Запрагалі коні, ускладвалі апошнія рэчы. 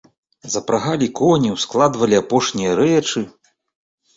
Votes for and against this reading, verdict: 2, 0, accepted